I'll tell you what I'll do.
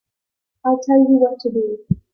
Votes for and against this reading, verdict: 0, 3, rejected